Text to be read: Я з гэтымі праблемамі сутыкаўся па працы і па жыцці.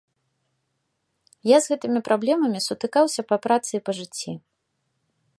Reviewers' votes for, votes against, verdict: 2, 0, accepted